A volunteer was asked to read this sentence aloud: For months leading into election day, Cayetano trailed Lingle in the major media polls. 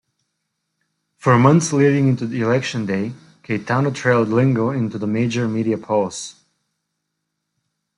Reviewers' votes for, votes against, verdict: 2, 1, accepted